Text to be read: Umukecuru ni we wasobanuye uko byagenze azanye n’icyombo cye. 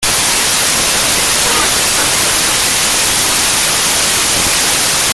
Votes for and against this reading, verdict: 0, 2, rejected